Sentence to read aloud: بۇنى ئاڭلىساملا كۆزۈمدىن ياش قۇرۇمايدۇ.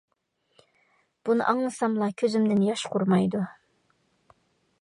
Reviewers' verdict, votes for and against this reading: accepted, 2, 0